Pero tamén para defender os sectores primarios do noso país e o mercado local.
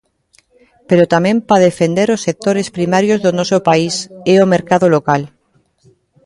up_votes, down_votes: 0, 2